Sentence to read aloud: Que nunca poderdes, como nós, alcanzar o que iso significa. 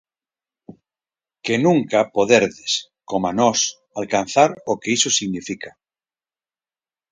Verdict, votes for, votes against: rejected, 0, 4